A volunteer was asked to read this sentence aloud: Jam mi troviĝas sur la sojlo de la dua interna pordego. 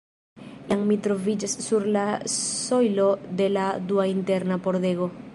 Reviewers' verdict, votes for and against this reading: rejected, 0, 2